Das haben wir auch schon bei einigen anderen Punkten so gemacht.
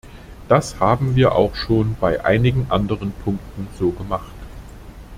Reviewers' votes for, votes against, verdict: 2, 0, accepted